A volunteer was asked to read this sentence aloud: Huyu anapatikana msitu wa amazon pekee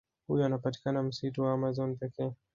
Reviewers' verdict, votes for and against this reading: accepted, 2, 0